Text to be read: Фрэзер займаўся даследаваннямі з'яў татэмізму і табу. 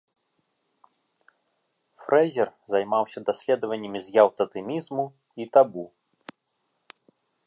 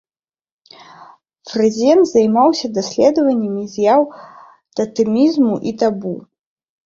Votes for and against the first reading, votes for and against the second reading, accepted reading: 2, 0, 1, 2, first